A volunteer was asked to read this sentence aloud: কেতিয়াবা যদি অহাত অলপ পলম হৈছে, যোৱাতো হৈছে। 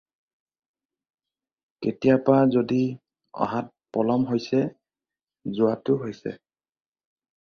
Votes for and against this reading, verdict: 2, 4, rejected